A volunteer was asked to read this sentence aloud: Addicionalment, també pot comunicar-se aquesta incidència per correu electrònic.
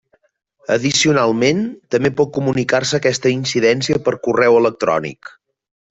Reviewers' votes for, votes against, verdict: 3, 0, accepted